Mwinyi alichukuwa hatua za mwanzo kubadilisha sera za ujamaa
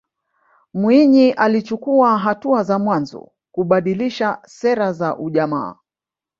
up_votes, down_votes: 1, 2